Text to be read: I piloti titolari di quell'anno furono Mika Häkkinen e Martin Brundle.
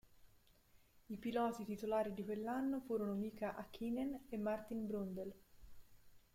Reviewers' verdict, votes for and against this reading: rejected, 0, 2